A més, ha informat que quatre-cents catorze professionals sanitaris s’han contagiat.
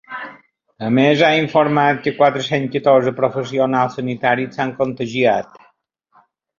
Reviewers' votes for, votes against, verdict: 2, 0, accepted